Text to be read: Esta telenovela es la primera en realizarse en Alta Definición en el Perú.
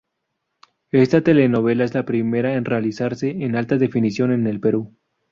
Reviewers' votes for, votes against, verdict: 0, 2, rejected